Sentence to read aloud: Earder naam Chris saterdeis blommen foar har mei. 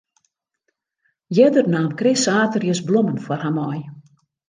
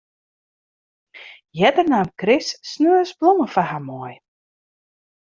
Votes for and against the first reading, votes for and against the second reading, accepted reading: 2, 0, 1, 2, first